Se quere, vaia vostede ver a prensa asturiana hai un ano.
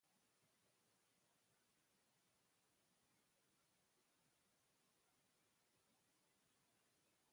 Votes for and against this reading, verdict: 0, 2, rejected